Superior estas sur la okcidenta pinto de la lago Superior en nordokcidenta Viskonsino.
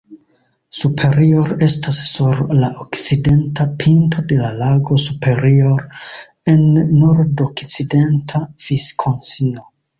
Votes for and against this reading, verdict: 2, 0, accepted